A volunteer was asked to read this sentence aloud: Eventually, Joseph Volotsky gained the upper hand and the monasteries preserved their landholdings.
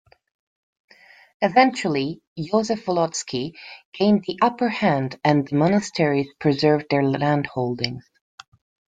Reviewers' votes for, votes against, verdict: 2, 0, accepted